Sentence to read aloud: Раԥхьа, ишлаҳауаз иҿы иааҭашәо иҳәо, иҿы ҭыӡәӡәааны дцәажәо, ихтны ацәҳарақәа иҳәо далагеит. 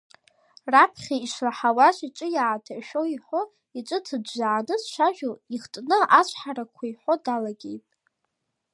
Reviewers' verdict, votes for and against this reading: accepted, 2, 0